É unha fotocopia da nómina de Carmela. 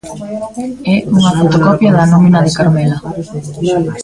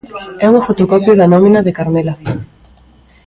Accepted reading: second